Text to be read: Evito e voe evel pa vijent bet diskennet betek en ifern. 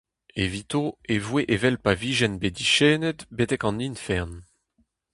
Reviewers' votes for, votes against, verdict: 4, 0, accepted